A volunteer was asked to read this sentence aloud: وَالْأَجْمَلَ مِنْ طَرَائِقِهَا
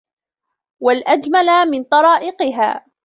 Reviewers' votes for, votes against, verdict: 2, 0, accepted